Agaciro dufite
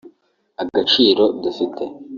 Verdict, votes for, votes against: rejected, 0, 2